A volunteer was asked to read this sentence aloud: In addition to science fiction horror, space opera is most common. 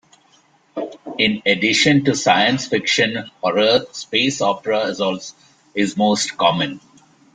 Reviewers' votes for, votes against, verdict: 2, 1, accepted